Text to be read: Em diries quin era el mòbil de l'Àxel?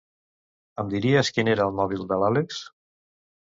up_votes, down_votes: 1, 2